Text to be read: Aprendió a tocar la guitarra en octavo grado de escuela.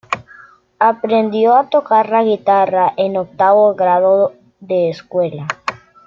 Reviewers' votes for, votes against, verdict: 1, 2, rejected